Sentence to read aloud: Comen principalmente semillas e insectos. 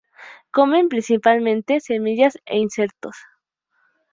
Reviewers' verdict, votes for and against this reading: accepted, 2, 0